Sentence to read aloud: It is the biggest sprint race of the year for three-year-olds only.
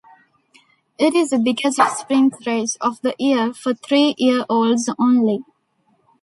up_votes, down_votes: 0, 2